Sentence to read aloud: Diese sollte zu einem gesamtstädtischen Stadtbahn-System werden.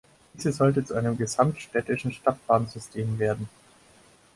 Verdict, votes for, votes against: rejected, 2, 6